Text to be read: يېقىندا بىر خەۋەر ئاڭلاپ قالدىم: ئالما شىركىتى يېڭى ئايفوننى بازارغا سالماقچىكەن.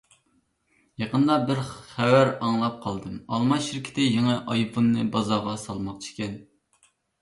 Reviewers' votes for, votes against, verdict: 1, 2, rejected